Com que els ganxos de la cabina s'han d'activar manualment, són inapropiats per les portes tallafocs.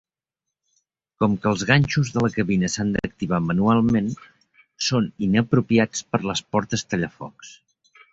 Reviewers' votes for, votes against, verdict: 4, 0, accepted